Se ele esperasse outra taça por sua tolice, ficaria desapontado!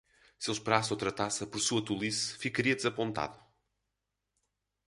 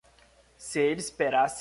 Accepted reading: first